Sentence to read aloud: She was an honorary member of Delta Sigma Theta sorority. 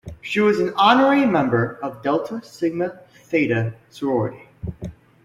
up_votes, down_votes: 2, 0